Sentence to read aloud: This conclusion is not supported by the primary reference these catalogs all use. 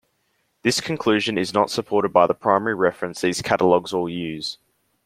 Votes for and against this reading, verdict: 2, 0, accepted